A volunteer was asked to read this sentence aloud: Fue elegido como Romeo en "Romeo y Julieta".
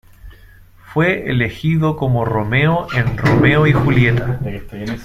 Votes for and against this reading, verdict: 0, 2, rejected